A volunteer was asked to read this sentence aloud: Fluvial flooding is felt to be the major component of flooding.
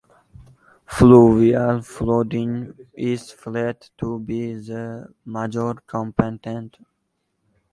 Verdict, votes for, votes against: rejected, 0, 2